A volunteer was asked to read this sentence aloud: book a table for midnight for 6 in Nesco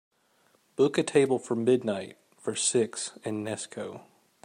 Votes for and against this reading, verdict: 0, 2, rejected